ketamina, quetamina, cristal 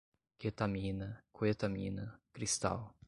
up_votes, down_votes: 2, 0